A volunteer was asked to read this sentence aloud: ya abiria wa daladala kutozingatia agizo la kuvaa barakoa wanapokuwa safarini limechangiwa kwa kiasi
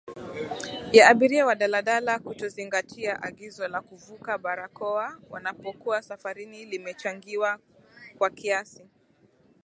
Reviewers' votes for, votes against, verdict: 2, 0, accepted